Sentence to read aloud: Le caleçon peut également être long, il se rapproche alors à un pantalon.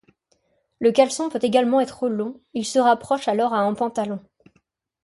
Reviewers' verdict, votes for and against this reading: accepted, 2, 0